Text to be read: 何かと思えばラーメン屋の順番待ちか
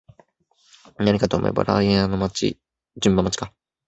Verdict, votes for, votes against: rejected, 0, 2